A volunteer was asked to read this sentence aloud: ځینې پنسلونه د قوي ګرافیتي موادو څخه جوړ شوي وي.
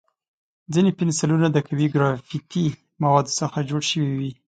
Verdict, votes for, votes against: accepted, 2, 0